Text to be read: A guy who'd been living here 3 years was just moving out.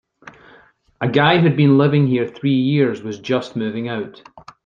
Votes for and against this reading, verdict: 0, 2, rejected